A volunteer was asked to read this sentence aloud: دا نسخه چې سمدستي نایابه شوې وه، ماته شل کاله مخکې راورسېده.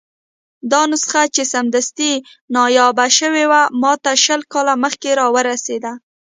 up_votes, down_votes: 2, 1